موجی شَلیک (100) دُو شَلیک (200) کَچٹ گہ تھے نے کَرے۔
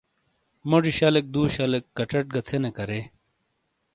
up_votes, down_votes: 0, 2